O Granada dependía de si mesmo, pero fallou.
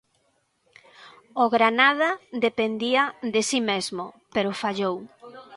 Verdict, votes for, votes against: accepted, 2, 0